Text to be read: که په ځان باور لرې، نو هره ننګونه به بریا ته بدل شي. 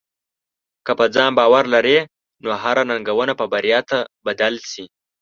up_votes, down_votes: 2, 0